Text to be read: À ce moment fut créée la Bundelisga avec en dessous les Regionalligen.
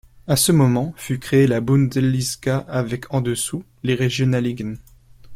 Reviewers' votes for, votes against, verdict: 1, 2, rejected